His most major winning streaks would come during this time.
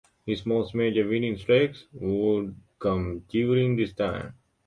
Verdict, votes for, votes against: rejected, 1, 2